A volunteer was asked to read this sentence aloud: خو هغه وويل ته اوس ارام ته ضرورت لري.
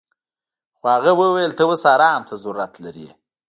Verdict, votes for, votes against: rejected, 1, 2